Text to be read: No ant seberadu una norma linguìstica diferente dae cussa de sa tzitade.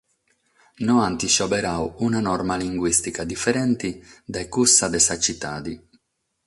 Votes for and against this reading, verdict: 6, 0, accepted